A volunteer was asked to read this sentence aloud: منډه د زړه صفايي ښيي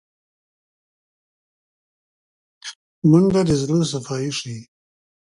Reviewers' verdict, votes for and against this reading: rejected, 1, 2